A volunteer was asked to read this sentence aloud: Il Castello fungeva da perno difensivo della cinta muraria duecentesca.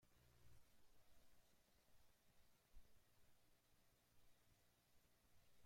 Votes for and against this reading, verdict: 0, 2, rejected